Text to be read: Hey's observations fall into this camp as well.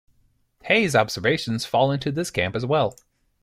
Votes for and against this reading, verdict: 2, 0, accepted